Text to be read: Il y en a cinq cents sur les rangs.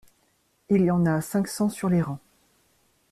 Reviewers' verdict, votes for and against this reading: accepted, 2, 0